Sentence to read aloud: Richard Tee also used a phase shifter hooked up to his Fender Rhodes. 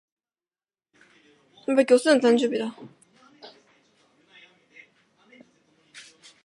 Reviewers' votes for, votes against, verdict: 0, 2, rejected